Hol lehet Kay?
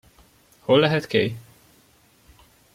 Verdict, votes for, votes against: accepted, 2, 0